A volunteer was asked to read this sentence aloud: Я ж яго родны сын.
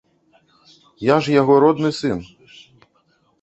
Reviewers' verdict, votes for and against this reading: rejected, 1, 2